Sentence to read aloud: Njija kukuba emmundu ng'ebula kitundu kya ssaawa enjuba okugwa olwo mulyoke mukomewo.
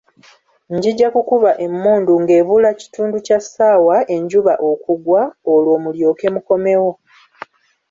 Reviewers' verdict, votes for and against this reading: rejected, 1, 2